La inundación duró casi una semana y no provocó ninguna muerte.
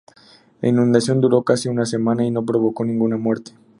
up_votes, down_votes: 2, 0